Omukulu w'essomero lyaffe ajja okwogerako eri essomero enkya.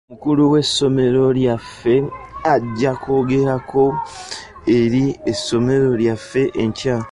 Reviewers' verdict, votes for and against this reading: rejected, 1, 2